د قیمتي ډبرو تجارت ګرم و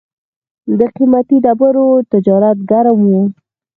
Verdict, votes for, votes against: rejected, 0, 4